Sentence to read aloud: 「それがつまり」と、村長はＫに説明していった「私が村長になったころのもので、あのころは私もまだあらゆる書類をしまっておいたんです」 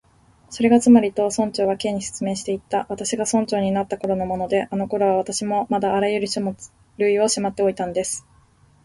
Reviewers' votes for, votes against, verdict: 11, 4, accepted